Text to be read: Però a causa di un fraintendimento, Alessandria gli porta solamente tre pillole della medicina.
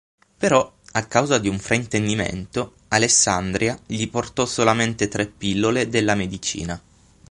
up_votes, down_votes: 0, 6